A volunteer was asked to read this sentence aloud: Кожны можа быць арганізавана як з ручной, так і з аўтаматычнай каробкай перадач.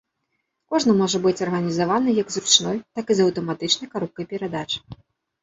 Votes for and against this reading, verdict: 2, 0, accepted